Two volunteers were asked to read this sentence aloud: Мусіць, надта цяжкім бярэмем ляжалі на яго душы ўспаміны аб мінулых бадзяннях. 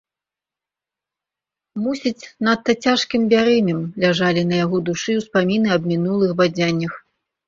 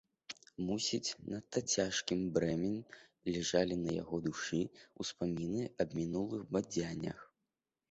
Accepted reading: first